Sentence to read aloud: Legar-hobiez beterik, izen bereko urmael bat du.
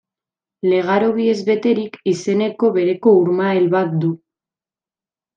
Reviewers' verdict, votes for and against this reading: rejected, 0, 2